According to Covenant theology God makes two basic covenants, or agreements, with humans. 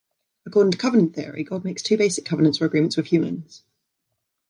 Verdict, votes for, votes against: rejected, 0, 2